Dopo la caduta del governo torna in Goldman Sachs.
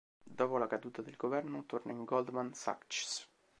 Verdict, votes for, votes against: rejected, 0, 2